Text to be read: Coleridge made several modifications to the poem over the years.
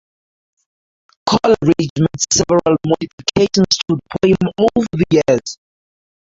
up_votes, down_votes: 0, 2